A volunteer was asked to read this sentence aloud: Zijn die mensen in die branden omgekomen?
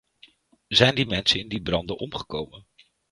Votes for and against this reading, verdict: 2, 0, accepted